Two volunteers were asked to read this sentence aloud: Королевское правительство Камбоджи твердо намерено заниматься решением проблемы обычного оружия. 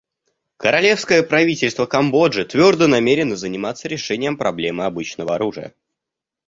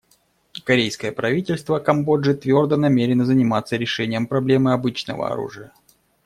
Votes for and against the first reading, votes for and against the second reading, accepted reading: 2, 0, 0, 2, first